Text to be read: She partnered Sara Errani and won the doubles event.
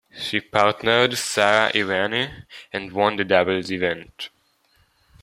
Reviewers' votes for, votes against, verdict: 2, 1, accepted